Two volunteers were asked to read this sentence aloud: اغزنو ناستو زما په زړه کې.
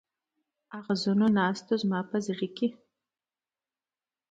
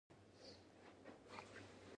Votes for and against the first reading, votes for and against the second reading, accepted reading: 2, 0, 1, 2, first